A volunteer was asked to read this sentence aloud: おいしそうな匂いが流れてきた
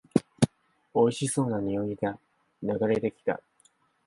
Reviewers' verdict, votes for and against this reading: accepted, 6, 2